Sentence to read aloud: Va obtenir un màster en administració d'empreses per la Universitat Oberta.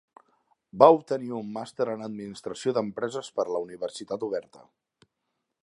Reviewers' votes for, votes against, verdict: 3, 0, accepted